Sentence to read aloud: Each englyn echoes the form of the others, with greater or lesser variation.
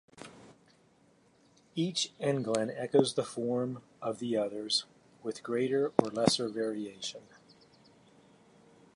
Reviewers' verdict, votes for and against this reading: rejected, 1, 2